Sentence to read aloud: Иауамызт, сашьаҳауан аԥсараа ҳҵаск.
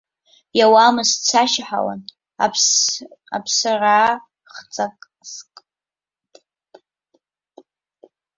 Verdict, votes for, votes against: rejected, 0, 2